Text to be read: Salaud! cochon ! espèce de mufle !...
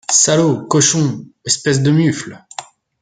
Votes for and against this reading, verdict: 2, 0, accepted